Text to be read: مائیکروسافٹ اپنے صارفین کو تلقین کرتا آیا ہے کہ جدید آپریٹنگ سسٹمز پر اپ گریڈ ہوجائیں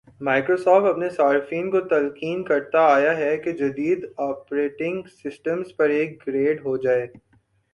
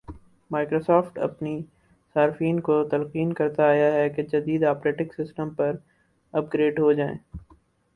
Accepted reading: second